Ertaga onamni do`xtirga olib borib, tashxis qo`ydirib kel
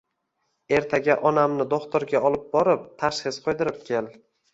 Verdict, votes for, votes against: accepted, 2, 0